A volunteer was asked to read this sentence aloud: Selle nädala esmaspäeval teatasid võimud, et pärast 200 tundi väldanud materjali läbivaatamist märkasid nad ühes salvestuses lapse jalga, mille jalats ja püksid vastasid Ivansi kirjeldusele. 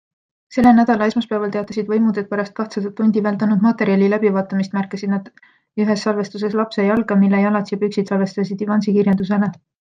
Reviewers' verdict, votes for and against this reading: rejected, 0, 2